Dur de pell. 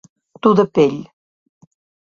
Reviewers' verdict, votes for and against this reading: accepted, 2, 0